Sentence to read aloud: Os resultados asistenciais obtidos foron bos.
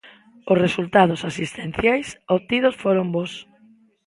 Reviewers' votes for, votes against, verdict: 2, 0, accepted